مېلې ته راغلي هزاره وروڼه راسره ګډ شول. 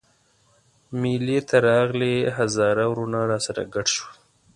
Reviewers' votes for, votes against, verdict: 1, 2, rejected